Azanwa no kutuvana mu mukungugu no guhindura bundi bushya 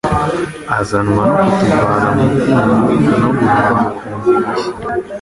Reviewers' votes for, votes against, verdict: 1, 2, rejected